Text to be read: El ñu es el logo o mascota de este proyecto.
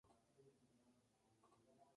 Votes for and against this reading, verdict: 0, 2, rejected